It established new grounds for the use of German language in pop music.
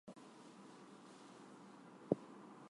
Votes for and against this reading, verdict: 0, 2, rejected